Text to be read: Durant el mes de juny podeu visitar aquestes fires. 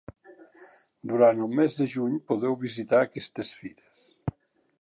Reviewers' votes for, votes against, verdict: 3, 0, accepted